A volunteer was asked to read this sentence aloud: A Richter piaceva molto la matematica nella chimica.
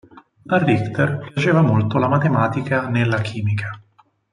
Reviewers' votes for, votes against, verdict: 4, 0, accepted